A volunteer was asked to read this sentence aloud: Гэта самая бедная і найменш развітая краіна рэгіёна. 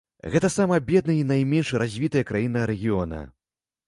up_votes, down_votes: 0, 2